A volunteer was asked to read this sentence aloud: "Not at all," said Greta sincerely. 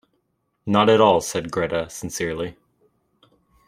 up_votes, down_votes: 2, 0